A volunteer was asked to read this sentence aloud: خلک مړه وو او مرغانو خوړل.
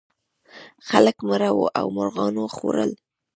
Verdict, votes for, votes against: rejected, 1, 2